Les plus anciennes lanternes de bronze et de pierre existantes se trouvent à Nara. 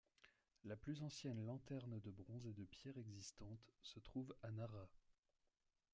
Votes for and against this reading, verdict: 1, 2, rejected